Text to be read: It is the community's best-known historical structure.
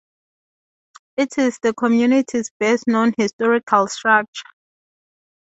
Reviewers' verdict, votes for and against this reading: rejected, 0, 2